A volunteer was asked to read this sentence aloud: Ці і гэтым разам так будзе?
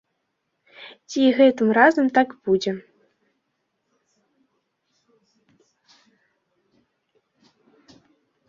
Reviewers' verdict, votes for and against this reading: accepted, 2, 0